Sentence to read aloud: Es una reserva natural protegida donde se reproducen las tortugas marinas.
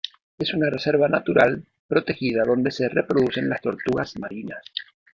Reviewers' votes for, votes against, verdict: 2, 0, accepted